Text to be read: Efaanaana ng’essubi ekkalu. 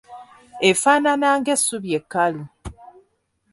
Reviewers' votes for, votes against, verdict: 2, 0, accepted